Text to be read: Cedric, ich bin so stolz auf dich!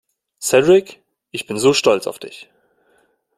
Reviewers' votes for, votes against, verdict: 2, 0, accepted